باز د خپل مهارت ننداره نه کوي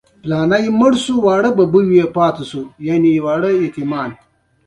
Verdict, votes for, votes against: rejected, 1, 2